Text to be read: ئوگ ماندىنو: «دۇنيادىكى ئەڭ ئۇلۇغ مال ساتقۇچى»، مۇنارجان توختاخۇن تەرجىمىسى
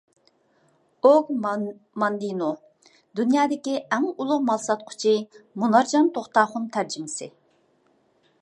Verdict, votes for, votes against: rejected, 0, 2